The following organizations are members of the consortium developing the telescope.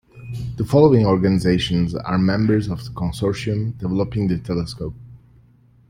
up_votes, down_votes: 2, 1